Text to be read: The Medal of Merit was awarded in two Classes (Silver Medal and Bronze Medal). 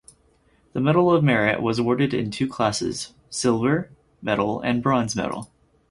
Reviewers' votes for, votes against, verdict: 0, 4, rejected